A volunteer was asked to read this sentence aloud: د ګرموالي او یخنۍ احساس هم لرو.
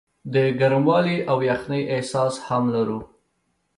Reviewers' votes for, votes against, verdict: 2, 0, accepted